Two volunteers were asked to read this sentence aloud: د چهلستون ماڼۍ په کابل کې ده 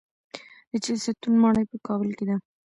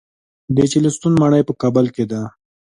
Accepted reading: second